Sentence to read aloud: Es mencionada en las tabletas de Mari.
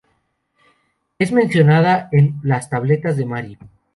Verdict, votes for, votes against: accepted, 2, 0